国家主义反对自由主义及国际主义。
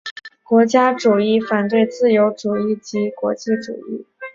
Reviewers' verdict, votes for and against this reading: accepted, 2, 0